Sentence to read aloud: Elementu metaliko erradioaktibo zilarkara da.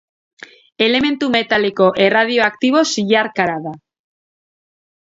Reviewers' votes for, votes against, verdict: 2, 0, accepted